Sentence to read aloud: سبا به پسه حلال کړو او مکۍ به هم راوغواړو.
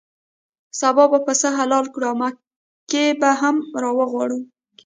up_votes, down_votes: 2, 1